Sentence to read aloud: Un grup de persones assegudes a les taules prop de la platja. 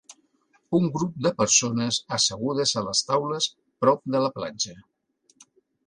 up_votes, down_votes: 4, 1